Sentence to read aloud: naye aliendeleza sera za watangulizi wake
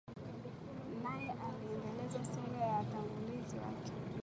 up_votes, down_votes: 0, 2